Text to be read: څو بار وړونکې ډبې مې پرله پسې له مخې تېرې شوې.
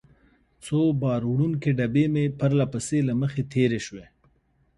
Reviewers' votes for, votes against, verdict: 2, 0, accepted